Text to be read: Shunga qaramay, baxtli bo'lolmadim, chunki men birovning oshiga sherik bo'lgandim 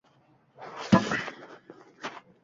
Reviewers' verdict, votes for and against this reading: rejected, 0, 2